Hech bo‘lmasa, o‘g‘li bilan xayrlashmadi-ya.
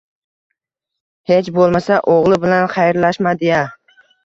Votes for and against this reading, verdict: 2, 0, accepted